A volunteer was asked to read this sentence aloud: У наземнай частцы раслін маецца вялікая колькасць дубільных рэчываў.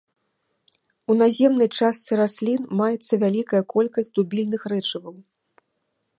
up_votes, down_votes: 2, 0